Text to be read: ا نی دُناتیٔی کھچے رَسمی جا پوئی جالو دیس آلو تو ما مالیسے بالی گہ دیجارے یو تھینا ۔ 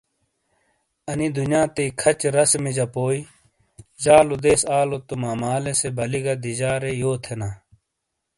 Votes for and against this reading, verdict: 2, 0, accepted